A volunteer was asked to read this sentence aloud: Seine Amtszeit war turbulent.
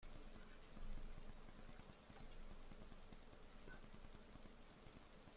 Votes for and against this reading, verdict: 0, 2, rejected